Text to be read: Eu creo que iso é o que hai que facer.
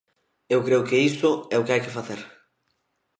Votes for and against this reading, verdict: 1, 2, rejected